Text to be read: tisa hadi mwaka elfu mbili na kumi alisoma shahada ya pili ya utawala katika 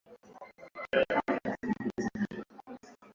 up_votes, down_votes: 0, 2